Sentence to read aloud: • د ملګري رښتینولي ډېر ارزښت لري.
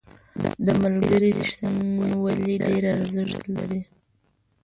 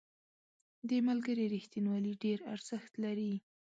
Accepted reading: second